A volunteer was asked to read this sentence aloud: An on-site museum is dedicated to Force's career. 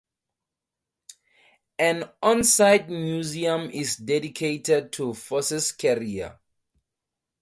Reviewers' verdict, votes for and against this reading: rejected, 0, 2